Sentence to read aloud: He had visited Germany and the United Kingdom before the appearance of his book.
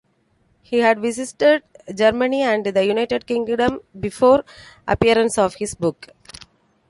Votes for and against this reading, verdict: 1, 2, rejected